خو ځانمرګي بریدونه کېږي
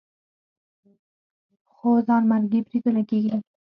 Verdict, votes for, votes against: rejected, 2, 4